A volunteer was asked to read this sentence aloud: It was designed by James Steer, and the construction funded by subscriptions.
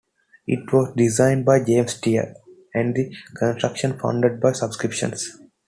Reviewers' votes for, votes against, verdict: 0, 2, rejected